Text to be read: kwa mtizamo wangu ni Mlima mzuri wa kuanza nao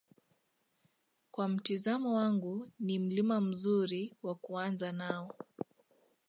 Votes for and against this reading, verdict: 2, 0, accepted